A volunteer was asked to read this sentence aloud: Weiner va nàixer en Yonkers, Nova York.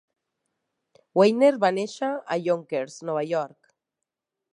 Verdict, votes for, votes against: rejected, 0, 2